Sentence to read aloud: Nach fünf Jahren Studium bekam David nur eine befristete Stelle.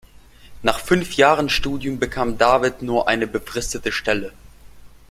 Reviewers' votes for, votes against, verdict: 2, 0, accepted